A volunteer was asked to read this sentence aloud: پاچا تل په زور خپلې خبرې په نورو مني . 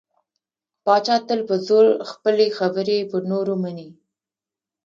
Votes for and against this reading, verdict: 1, 2, rejected